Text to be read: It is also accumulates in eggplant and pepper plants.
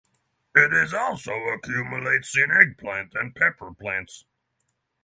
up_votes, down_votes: 6, 0